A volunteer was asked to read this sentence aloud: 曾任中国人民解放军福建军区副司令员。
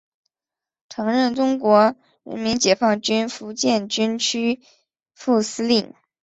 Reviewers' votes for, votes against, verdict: 0, 2, rejected